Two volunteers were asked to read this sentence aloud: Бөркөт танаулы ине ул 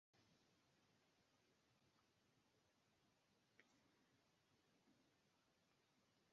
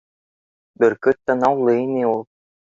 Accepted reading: second